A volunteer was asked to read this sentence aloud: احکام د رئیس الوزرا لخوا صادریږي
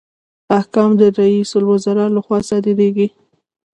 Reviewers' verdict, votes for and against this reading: rejected, 0, 2